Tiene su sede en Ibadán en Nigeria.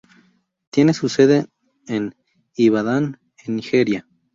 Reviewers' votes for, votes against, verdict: 0, 2, rejected